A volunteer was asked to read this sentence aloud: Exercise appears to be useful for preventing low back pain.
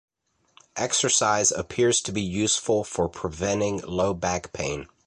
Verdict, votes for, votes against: accepted, 2, 0